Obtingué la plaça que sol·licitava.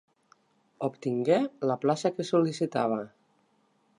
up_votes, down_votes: 2, 0